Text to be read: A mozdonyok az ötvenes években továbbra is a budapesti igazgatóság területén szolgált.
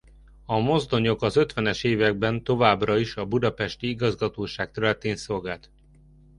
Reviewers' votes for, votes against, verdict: 2, 0, accepted